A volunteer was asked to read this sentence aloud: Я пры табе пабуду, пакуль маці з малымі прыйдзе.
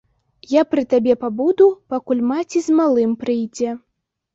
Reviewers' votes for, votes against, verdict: 1, 2, rejected